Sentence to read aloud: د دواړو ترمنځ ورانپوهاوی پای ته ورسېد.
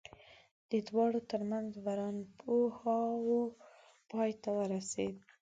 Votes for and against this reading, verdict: 1, 2, rejected